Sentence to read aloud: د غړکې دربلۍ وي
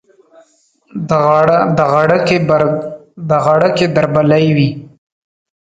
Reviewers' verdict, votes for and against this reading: rejected, 1, 2